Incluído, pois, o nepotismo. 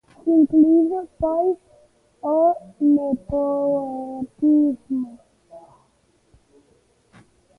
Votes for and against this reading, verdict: 1, 2, rejected